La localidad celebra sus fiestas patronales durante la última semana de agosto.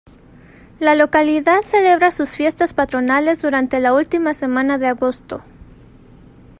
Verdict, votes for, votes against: accepted, 2, 0